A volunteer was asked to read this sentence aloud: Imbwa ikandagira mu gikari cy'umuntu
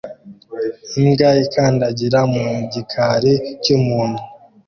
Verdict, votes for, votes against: rejected, 1, 2